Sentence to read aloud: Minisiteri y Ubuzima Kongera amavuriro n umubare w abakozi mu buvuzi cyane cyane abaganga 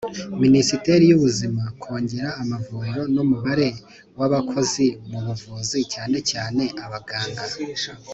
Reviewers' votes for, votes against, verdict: 2, 0, accepted